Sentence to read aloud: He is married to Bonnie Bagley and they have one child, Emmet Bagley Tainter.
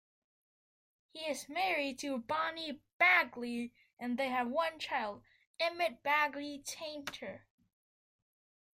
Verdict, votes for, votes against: accepted, 2, 0